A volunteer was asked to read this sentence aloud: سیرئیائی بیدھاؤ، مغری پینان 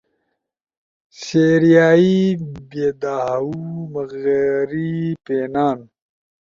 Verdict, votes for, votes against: accepted, 2, 0